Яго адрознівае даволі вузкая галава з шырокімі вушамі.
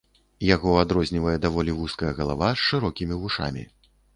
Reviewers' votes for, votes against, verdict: 2, 0, accepted